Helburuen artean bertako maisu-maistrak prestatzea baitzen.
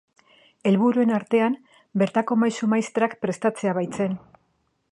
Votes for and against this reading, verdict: 2, 0, accepted